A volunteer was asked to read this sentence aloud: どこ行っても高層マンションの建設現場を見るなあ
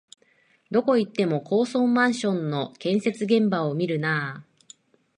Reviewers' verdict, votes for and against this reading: rejected, 0, 2